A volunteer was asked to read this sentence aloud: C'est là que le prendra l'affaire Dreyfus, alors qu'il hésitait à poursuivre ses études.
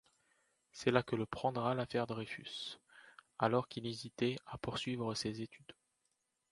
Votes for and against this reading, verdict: 2, 0, accepted